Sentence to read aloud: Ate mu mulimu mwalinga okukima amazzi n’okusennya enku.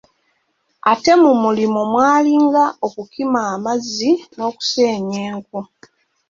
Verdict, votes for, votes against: accepted, 2, 0